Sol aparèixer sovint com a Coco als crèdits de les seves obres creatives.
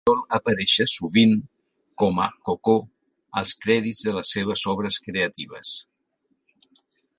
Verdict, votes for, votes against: accepted, 2, 1